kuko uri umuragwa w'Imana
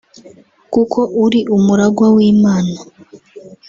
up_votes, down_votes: 1, 2